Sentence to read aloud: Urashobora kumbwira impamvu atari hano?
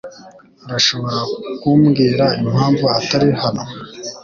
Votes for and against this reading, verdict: 2, 0, accepted